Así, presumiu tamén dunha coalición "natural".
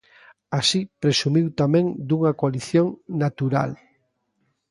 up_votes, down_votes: 2, 0